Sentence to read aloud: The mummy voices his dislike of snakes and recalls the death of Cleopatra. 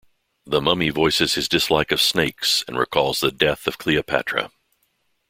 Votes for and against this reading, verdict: 2, 0, accepted